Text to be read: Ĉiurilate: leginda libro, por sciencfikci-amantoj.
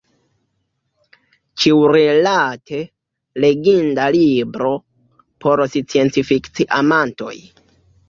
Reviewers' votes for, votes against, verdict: 2, 1, accepted